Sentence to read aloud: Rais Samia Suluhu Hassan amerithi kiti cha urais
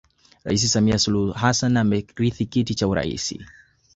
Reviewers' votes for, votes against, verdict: 2, 1, accepted